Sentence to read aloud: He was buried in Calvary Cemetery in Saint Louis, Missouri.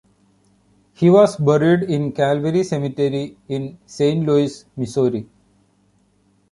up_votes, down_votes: 2, 0